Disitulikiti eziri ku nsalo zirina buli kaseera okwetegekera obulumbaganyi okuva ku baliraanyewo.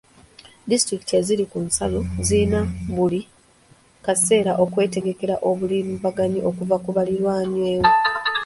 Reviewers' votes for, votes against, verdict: 1, 2, rejected